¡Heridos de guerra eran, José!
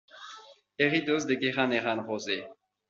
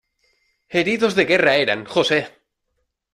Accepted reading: second